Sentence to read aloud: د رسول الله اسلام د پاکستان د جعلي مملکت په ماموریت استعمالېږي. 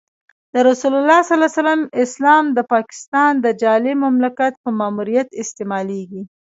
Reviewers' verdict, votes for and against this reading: rejected, 1, 2